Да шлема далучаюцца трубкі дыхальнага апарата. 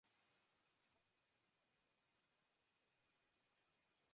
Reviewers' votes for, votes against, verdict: 1, 3, rejected